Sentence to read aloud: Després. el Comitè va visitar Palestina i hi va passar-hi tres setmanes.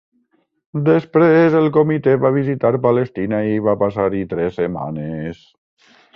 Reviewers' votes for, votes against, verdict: 1, 2, rejected